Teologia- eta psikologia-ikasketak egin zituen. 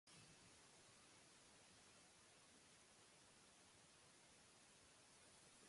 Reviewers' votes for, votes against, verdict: 0, 2, rejected